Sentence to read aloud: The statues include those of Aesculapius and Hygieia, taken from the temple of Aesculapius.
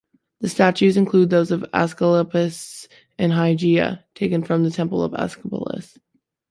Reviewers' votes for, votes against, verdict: 2, 0, accepted